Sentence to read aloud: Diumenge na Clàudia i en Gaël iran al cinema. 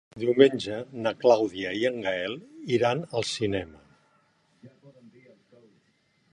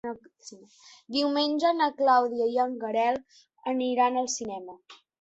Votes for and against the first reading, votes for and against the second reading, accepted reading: 3, 0, 1, 2, first